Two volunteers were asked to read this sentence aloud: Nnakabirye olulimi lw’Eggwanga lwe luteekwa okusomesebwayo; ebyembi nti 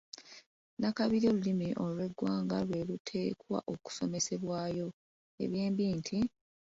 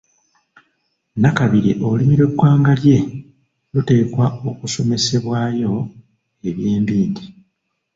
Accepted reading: first